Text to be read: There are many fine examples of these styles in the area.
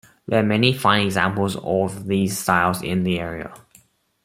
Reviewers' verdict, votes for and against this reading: accepted, 3, 0